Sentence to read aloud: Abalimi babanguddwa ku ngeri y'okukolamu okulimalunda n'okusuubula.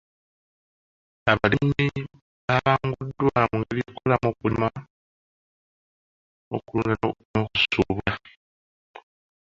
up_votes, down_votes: 0, 2